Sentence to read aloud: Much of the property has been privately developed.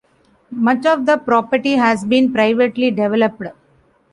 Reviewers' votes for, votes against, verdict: 0, 2, rejected